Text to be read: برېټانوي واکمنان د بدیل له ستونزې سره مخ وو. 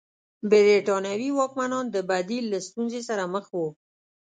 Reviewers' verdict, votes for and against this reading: rejected, 1, 2